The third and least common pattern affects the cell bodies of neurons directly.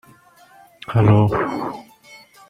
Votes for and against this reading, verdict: 0, 2, rejected